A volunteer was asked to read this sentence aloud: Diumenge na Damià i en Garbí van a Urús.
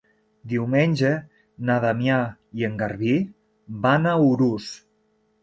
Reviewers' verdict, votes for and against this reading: accepted, 3, 0